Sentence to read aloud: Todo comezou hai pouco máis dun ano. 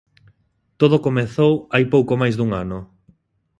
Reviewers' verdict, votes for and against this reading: accepted, 2, 0